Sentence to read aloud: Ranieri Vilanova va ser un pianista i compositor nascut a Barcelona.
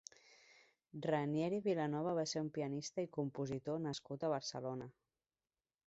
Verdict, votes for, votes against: accepted, 3, 1